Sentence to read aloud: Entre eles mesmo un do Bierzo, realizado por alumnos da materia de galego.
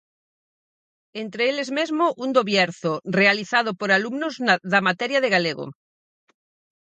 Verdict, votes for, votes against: rejected, 0, 4